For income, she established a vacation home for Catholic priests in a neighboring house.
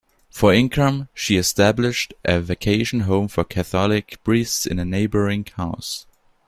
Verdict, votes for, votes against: accepted, 2, 0